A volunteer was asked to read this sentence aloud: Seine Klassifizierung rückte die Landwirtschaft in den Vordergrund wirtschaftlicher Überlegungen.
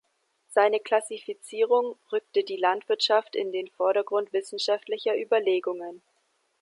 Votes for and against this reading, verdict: 0, 2, rejected